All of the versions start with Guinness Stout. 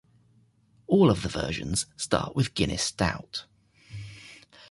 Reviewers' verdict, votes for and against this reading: accepted, 2, 0